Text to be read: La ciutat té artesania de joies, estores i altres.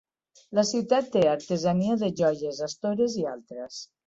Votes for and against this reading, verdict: 2, 0, accepted